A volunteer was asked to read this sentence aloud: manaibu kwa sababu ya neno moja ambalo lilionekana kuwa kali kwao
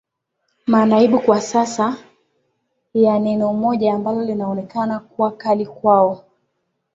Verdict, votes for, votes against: rejected, 0, 2